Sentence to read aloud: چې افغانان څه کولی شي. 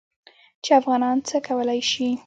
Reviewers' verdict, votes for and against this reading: rejected, 1, 2